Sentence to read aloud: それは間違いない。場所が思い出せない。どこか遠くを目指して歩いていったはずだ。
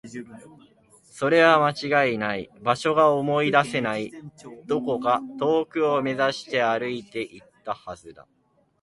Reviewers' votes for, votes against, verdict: 1, 3, rejected